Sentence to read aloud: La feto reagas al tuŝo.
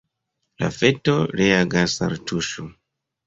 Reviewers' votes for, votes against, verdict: 2, 0, accepted